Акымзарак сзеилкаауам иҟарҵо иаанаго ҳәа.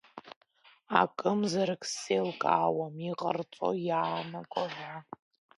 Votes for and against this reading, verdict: 1, 2, rejected